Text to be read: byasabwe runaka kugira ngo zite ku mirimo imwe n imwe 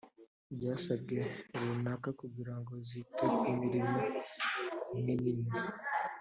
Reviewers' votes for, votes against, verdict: 3, 1, accepted